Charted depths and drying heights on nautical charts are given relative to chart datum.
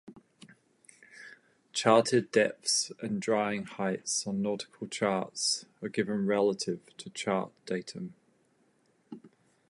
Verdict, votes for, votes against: accepted, 2, 0